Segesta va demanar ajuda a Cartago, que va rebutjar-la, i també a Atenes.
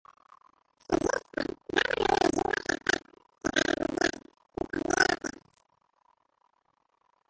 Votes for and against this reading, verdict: 0, 3, rejected